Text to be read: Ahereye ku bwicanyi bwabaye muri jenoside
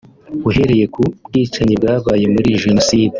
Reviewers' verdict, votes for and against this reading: rejected, 1, 2